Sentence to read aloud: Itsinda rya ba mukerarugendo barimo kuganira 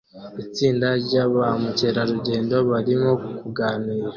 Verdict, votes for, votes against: accepted, 2, 1